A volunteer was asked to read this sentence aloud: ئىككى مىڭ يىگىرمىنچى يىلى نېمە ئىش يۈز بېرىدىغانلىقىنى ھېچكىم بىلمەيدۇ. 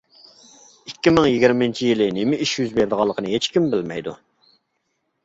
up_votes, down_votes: 2, 0